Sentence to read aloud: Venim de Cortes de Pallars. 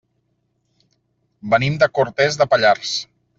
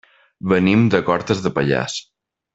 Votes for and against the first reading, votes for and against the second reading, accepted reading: 0, 2, 3, 0, second